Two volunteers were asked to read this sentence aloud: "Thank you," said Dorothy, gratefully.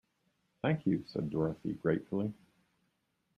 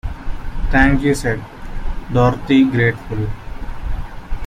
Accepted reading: first